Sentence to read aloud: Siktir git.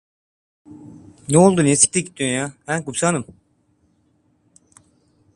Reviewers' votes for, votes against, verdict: 0, 2, rejected